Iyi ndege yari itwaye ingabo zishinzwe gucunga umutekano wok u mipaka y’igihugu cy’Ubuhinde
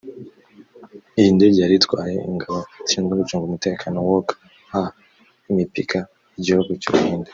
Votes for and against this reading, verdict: 1, 2, rejected